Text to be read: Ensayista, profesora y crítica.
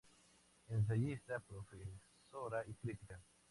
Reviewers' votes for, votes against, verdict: 0, 4, rejected